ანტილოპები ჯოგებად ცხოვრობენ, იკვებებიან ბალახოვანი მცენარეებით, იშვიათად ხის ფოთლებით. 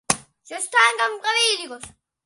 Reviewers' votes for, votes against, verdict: 0, 2, rejected